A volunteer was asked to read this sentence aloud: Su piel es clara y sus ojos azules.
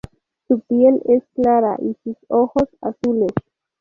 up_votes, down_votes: 0, 2